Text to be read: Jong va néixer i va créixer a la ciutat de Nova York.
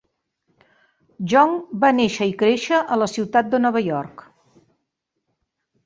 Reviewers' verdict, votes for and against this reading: rejected, 1, 2